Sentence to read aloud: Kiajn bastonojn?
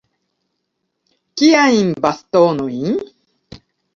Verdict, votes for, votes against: accepted, 2, 1